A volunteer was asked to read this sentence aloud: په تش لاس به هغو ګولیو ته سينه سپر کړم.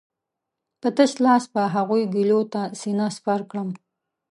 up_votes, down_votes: 0, 2